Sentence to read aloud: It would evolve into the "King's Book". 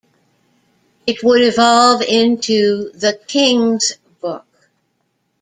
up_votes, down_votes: 2, 1